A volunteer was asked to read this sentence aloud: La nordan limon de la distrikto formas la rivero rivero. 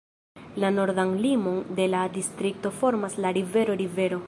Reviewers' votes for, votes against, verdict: 0, 2, rejected